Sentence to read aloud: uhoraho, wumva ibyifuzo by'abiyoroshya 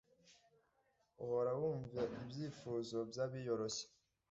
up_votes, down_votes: 2, 0